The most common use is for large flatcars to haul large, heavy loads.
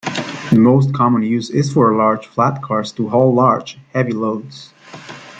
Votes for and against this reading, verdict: 2, 0, accepted